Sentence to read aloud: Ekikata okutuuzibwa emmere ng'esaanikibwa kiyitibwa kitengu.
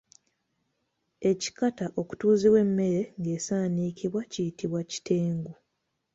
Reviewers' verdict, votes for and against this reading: accepted, 2, 0